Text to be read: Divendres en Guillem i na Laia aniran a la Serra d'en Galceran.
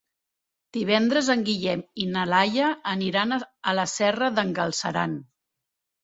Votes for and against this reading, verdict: 0, 2, rejected